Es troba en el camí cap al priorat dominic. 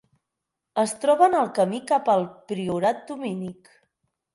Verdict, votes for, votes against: accepted, 4, 0